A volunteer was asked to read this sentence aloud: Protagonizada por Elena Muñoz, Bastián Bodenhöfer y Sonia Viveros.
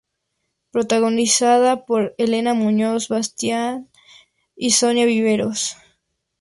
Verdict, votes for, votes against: rejected, 0, 2